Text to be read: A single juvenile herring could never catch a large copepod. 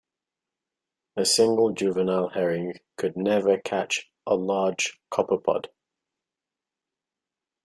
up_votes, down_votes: 2, 0